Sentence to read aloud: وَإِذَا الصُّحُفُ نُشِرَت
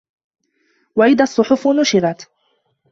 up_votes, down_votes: 2, 1